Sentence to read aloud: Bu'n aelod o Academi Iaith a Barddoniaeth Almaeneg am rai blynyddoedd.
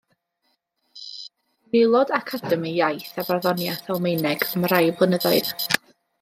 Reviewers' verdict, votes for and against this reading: rejected, 1, 2